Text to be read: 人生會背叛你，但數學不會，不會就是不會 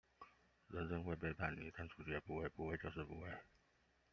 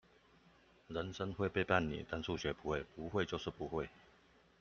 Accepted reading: second